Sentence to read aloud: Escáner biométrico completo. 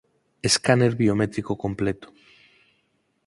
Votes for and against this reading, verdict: 4, 0, accepted